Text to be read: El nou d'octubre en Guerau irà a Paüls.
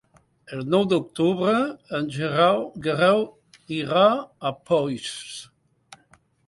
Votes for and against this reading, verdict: 0, 3, rejected